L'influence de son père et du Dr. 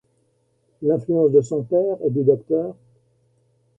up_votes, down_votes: 1, 2